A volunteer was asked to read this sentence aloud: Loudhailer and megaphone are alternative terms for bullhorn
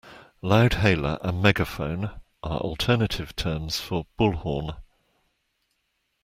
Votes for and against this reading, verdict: 2, 0, accepted